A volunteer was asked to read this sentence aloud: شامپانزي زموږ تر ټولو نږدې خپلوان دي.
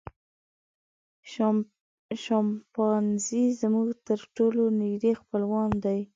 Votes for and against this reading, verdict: 1, 2, rejected